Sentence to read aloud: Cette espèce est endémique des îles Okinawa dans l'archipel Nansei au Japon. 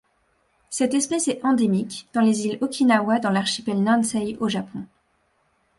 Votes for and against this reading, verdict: 1, 2, rejected